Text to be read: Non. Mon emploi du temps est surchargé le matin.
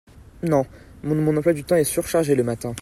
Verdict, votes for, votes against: rejected, 0, 2